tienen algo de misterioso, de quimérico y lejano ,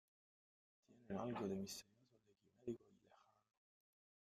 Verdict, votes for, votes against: rejected, 0, 2